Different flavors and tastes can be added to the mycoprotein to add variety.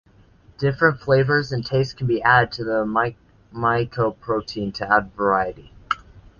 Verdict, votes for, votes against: rejected, 1, 2